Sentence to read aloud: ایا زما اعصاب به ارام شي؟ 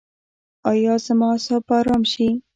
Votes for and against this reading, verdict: 2, 0, accepted